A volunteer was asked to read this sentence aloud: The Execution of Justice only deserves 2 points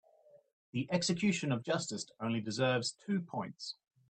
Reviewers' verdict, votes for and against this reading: rejected, 0, 2